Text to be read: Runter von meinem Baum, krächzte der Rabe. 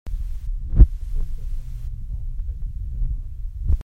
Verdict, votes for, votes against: rejected, 0, 2